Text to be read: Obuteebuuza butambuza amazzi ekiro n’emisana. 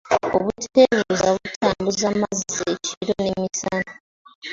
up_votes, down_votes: 2, 1